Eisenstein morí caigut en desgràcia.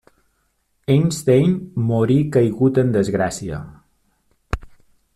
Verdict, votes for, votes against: rejected, 0, 2